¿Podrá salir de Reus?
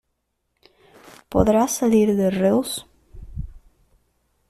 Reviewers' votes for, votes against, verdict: 2, 0, accepted